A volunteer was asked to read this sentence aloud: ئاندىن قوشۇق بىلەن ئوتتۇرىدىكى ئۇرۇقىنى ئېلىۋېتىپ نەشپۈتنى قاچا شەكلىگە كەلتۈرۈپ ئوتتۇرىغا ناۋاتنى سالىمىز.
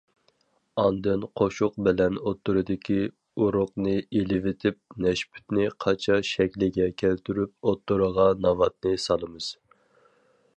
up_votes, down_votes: 0, 4